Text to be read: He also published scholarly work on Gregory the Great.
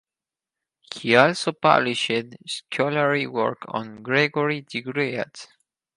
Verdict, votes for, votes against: accepted, 4, 0